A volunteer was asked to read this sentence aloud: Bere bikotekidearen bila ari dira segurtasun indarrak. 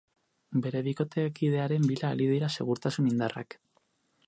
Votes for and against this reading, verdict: 4, 0, accepted